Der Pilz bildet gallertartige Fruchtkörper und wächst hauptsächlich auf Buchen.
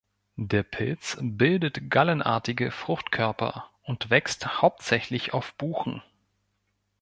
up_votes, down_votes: 1, 2